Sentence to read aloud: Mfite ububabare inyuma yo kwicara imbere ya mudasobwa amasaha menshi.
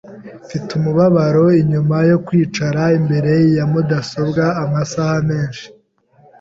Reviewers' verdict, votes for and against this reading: rejected, 1, 2